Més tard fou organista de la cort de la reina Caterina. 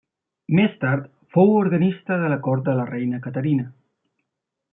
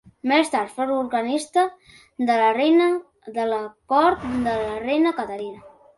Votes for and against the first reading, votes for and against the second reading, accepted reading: 2, 0, 0, 2, first